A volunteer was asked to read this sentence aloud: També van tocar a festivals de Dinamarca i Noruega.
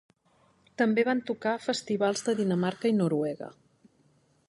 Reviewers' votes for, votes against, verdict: 3, 0, accepted